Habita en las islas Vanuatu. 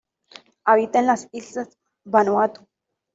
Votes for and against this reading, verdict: 2, 0, accepted